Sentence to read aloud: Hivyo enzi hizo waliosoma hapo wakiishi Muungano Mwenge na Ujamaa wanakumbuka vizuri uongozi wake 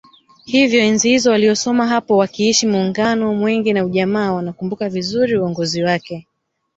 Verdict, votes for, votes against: accepted, 4, 0